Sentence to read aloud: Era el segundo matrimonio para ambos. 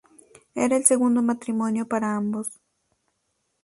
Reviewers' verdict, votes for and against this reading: accepted, 2, 0